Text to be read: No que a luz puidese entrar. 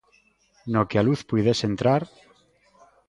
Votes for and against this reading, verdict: 2, 0, accepted